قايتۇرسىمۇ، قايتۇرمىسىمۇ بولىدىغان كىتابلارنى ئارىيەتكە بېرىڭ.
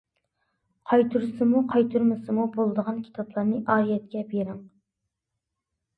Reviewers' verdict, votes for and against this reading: accepted, 2, 0